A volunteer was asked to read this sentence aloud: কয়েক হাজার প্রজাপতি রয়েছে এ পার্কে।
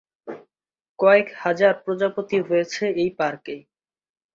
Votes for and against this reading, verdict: 9, 1, accepted